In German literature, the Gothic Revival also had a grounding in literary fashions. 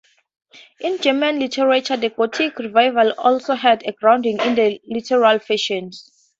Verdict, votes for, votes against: rejected, 0, 2